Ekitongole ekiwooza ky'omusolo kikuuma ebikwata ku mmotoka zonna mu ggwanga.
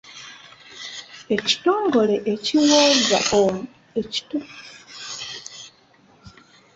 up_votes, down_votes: 0, 2